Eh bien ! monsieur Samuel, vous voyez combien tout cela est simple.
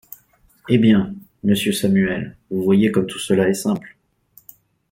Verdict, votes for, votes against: rejected, 0, 2